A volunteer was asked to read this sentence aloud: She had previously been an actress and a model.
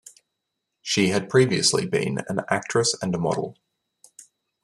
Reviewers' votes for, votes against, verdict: 2, 0, accepted